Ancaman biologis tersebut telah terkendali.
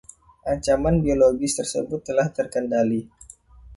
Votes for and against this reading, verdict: 2, 0, accepted